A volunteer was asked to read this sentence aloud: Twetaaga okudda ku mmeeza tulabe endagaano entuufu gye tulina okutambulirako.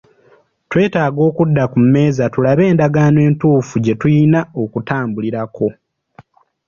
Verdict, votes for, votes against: accepted, 2, 0